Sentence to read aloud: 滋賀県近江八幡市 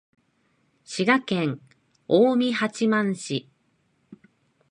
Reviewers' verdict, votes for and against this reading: accepted, 2, 0